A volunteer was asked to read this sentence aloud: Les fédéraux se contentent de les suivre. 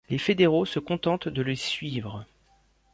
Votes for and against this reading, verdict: 2, 0, accepted